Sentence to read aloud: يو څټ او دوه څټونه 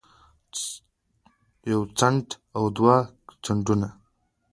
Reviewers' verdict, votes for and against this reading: accepted, 2, 0